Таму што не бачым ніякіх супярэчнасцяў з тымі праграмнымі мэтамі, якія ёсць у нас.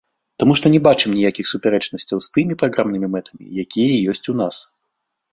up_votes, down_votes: 2, 0